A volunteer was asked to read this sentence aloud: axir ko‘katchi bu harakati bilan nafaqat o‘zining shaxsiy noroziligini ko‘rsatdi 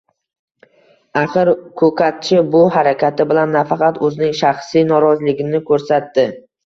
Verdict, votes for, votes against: accepted, 2, 0